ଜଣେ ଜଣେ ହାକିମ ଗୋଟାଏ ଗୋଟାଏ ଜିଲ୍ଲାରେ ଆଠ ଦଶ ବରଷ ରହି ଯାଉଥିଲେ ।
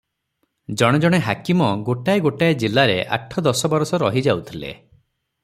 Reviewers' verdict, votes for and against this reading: accepted, 6, 0